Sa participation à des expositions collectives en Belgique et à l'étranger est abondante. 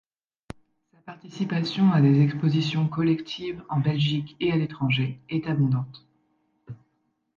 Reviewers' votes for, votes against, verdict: 0, 2, rejected